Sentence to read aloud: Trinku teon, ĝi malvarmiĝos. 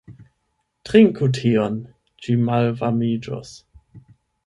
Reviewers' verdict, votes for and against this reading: rejected, 0, 8